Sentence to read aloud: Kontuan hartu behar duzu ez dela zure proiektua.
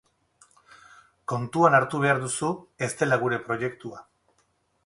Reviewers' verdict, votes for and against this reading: rejected, 4, 4